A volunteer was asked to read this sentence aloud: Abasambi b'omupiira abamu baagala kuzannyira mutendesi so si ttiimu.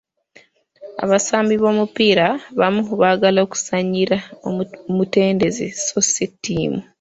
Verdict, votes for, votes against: rejected, 1, 2